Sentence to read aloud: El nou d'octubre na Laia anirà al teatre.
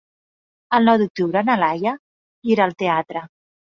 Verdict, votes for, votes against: rejected, 1, 3